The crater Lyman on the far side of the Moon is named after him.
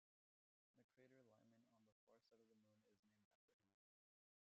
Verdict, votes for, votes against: rejected, 1, 2